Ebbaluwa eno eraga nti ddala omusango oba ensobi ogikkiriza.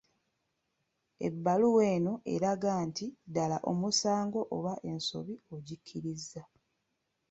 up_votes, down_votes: 2, 0